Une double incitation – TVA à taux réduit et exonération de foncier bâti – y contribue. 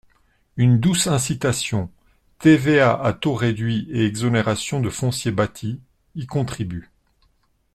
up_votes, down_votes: 0, 2